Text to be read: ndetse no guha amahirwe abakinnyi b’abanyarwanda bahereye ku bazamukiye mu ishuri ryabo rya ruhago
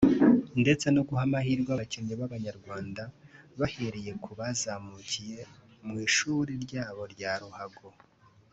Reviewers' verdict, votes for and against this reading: accepted, 4, 0